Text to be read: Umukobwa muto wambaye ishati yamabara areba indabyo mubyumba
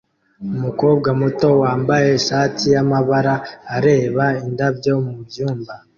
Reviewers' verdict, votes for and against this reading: accepted, 2, 0